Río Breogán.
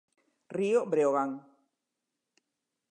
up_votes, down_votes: 2, 0